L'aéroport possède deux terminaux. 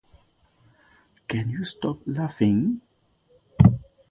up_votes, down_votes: 0, 2